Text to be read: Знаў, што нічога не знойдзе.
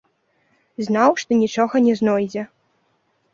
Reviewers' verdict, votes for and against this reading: accepted, 2, 0